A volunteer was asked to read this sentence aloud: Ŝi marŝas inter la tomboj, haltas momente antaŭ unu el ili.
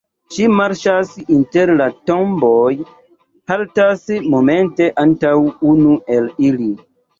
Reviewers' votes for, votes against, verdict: 2, 1, accepted